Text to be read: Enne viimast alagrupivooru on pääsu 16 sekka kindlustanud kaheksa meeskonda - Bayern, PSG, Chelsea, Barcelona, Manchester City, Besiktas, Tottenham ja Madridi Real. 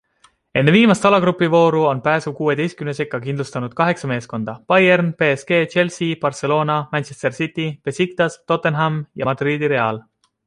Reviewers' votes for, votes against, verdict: 0, 2, rejected